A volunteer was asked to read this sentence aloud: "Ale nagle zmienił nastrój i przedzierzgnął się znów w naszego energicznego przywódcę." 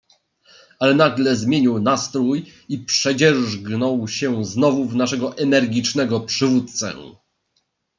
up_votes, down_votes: 1, 2